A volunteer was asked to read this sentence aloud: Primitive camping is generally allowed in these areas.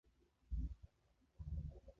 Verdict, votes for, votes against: rejected, 0, 2